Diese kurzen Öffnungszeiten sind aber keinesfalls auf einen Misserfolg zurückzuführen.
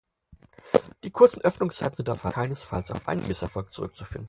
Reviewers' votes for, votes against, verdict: 0, 4, rejected